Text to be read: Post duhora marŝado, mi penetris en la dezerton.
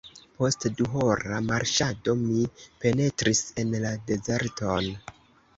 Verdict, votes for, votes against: rejected, 0, 2